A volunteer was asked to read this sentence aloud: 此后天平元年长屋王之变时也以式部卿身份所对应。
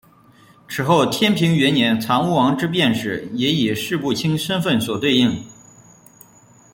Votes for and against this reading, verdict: 2, 0, accepted